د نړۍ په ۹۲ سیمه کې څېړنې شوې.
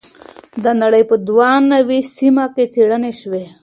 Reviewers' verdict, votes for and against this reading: rejected, 0, 2